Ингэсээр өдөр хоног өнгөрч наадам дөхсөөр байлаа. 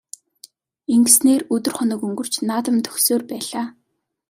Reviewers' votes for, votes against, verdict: 2, 0, accepted